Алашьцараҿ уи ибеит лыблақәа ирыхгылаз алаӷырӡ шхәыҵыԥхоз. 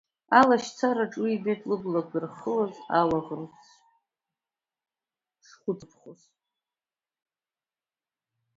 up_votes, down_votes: 0, 2